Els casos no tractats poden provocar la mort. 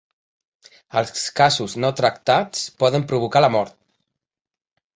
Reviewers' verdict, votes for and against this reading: rejected, 1, 2